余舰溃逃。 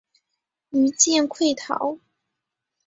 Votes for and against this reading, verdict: 2, 1, accepted